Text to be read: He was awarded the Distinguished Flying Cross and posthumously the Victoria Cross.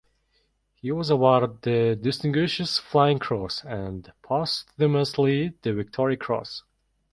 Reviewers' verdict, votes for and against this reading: rejected, 1, 2